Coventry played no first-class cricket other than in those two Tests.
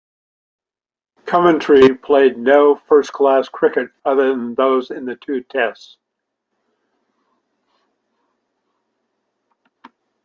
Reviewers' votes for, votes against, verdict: 0, 2, rejected